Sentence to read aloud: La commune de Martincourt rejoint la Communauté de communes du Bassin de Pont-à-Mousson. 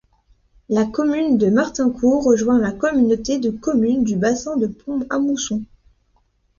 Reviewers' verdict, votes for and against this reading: accepted, 2, 0